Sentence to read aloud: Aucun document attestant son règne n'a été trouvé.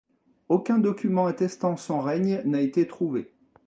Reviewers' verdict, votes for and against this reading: accepted, 2, 0